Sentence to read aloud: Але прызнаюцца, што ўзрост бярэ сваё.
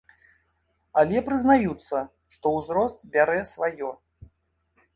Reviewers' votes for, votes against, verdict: 2, 0, accepted